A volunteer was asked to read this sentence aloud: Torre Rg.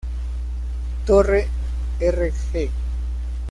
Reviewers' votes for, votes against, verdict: 1, 2, rejected